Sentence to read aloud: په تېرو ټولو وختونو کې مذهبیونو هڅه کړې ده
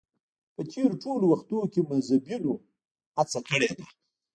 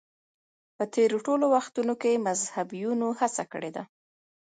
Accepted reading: second